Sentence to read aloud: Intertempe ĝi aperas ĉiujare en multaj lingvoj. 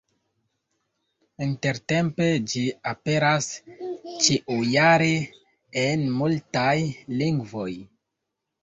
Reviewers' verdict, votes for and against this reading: rejected, 1, 2